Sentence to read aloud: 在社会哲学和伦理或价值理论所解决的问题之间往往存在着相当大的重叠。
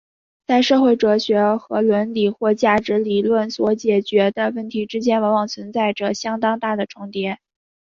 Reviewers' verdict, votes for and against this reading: accepted, 4, 0